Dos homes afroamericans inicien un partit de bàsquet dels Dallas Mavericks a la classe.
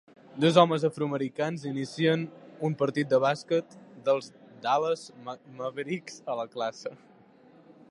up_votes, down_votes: 2, 1